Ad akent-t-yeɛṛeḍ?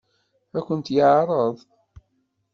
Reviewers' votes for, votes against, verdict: 2, 0, accepted